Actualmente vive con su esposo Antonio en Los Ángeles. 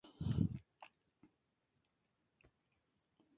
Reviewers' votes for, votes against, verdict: 0, 2, rejected